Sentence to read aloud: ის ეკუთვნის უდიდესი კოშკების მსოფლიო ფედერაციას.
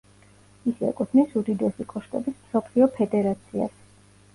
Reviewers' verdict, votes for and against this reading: rejected, 1, 2